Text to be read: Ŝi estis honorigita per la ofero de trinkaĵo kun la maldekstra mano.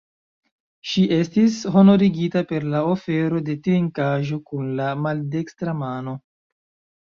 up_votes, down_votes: 1, 2